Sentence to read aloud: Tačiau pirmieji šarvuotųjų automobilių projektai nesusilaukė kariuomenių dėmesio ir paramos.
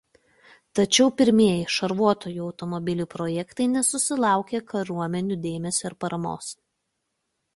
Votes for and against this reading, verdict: 2, 0, accepted